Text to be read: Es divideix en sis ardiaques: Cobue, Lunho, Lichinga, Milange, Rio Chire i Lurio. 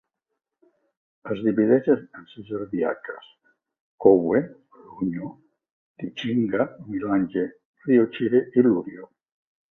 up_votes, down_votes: 1, 2